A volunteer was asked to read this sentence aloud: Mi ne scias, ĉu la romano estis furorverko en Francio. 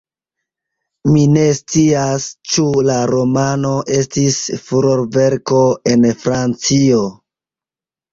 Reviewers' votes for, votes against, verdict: 2, 0, accepted